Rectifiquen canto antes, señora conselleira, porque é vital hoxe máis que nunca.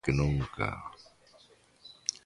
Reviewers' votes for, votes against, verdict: 1, 2, rejected